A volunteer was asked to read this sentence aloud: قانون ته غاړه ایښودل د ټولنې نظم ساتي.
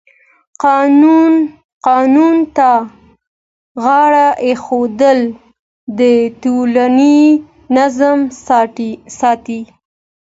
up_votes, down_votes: 2, 1